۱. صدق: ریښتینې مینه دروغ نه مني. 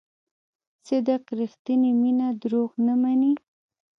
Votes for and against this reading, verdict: 0, 2, rejected